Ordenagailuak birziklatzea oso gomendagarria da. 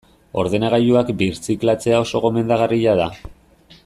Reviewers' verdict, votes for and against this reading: accepted, 2, 0